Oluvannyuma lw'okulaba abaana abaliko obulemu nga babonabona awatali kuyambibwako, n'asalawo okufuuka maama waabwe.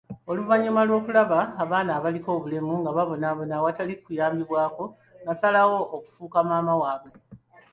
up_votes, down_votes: 2, 1